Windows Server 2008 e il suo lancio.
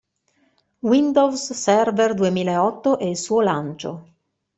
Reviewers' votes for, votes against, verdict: 0, 2, rejected